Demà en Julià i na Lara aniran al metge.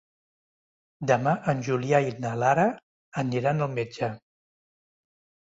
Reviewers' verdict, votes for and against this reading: accepted, 3, 0